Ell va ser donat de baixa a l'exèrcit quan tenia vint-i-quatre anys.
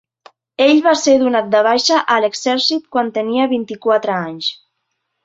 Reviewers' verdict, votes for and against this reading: accepted, 3, 1